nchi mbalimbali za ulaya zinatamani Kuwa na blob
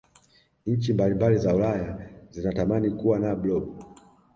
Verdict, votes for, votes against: accepted, 2, 0